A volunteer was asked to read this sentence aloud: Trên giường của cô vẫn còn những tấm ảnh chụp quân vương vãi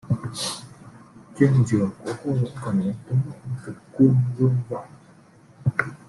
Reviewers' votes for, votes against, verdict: 0, 2, rejected